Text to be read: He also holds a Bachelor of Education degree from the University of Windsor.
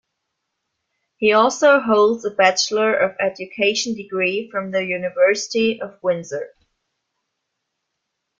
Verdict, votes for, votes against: accepted, 2, 0